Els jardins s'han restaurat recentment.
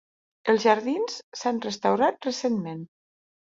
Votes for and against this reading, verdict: 3, 0, accepted